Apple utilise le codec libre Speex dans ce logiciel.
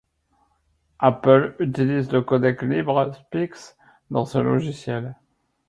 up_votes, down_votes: 1, 2